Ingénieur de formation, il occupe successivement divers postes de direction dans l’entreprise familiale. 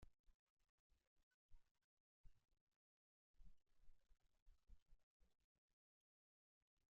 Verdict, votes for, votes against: rejected, 0, 2